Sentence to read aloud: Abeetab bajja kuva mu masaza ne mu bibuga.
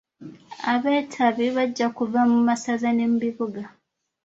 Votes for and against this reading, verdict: 2, 0, accepted